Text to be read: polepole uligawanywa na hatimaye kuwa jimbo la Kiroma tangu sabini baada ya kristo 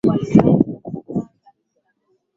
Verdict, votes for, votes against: rejected, 0, 2